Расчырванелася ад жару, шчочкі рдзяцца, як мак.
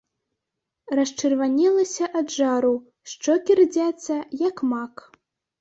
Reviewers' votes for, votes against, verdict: 0, 2, rejected